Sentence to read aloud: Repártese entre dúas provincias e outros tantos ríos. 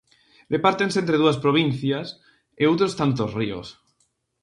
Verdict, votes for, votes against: rejected, 0, 4